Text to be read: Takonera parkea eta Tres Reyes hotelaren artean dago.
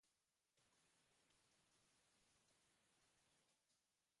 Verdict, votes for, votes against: rejected, 0, 3